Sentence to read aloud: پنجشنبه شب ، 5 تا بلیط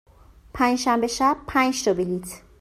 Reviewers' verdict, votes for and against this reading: rejected, 0, 2